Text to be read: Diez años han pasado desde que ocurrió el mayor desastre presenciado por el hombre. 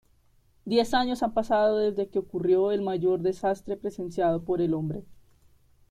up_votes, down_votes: 2, 0